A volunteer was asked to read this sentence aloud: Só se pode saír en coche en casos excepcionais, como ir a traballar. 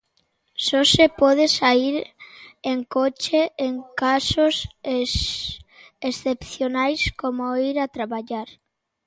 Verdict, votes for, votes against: rejected, 0, 2